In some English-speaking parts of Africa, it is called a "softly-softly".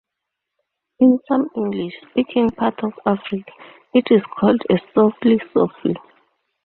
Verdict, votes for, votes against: accepted, 2, 0